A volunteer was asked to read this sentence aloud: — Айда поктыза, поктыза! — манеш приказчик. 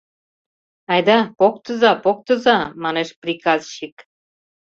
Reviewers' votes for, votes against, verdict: 2, 0, accepted